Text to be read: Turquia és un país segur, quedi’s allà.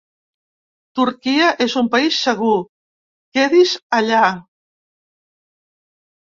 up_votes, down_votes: 2, 0